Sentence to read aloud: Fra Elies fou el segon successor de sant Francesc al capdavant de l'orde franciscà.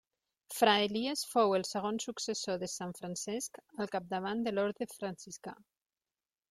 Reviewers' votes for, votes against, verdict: 6, 0, accepted